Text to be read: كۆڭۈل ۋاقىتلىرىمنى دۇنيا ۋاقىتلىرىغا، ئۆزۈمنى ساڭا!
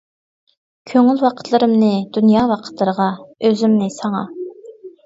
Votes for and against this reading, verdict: 2, 0, accepted